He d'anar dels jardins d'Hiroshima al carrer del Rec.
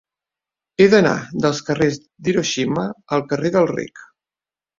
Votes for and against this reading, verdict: 1, 4, rejected